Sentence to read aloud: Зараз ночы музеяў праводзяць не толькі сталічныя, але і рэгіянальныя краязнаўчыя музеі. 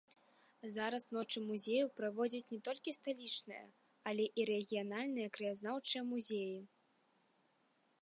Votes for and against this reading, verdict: 2, 0, accepted